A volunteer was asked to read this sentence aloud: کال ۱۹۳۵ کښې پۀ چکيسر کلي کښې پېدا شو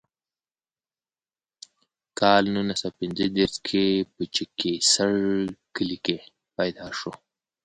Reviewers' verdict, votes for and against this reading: rejected, 0, 2